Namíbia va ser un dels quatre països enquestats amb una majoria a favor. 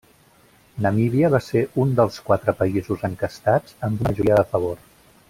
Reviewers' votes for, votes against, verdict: 0, 2, rejected